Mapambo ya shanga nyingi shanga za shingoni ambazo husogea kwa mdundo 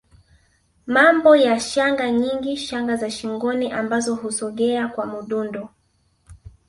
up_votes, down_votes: 2, 1